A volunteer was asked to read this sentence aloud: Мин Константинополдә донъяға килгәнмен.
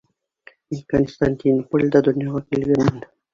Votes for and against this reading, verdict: 1, 2, rejected